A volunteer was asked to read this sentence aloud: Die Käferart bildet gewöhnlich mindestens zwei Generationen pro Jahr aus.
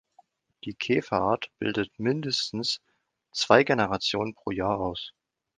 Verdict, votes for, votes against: rejected, 0, 2